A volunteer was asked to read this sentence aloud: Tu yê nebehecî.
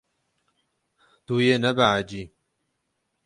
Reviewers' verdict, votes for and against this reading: rejected, 6, 6